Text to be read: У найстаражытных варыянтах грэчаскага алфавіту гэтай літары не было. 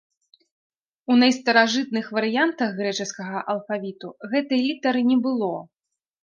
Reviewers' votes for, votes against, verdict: 2, 0, accepted